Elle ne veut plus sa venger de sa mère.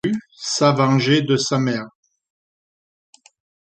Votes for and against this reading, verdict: 0, 2, rejected